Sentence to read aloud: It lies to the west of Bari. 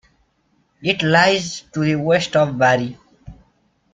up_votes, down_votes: 2, 0